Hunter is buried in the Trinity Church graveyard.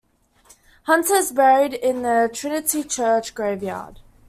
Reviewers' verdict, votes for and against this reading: accepted, 2, 0